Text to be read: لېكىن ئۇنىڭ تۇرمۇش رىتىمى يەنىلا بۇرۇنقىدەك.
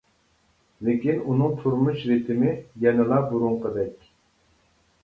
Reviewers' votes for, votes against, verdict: 2, 0, accepted